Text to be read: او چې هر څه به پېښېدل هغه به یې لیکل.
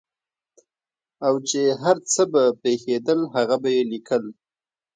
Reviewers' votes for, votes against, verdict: 1, 2, rejected